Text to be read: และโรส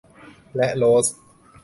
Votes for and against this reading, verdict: 2, 0, accepted